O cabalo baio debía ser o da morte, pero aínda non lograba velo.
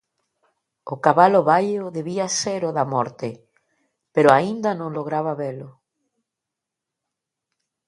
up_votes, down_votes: 2, 0